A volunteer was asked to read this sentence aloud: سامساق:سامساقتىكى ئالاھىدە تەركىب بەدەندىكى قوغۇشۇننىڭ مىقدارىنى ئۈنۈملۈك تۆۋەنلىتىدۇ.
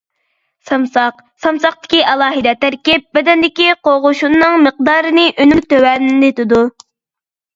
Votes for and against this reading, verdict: 0, 2, rejected